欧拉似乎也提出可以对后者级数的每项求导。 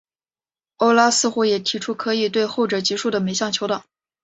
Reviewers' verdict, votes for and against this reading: accepted, 2, 1